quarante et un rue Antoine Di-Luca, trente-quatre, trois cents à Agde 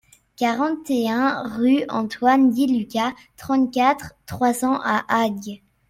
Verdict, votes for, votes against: rejected, 0, 2